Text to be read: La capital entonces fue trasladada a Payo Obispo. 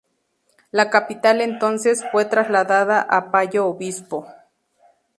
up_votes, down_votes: 2, 0